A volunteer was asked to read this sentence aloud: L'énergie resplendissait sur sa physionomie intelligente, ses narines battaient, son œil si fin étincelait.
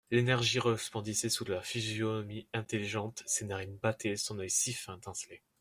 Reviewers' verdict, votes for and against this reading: rejected, 0, 2